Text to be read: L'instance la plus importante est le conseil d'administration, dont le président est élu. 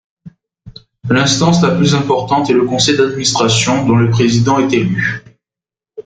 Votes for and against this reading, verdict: 2, 0, accepted